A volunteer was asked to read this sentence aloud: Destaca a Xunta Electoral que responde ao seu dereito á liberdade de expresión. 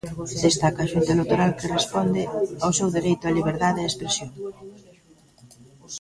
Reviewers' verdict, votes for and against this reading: rejected, 1, 2